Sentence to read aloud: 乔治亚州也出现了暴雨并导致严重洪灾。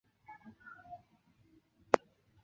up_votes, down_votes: 2, 3